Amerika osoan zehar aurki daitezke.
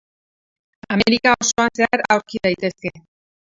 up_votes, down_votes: 2, 4